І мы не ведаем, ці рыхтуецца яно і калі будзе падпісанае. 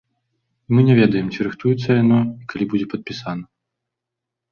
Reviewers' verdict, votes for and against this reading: rejected, 1, 2